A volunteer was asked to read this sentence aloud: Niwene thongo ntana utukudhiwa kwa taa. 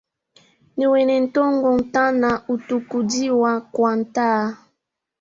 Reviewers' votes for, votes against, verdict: 1, 2, rejected